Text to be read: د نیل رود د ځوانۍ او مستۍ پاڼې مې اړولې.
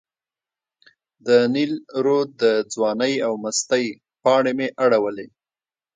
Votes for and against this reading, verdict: 1, 2, rejected